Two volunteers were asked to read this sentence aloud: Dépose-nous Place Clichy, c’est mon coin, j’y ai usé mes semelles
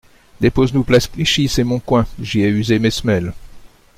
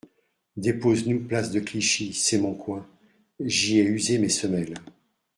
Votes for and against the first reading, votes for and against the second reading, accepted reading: 2, 0, 0, 2, first